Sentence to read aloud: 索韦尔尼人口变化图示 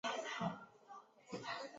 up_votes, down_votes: 1, 2